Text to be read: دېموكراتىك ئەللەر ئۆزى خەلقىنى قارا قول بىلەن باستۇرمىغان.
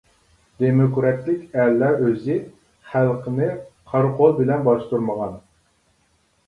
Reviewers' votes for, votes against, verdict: 2, 0, accepted